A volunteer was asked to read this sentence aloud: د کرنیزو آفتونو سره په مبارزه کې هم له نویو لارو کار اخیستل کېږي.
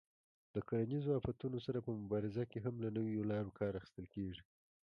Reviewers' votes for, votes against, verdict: 0, 2, rejected